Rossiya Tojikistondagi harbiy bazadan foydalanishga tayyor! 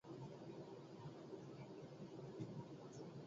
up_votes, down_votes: 0, 2